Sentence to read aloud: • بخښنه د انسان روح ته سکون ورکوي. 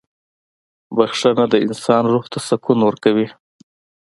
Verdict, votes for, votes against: accepted, 2, 0